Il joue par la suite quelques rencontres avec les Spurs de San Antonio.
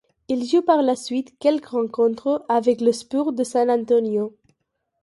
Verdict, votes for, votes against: accepted, 2, 0